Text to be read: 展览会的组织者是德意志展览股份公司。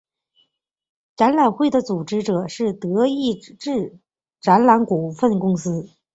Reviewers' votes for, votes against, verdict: 5, 0, accepted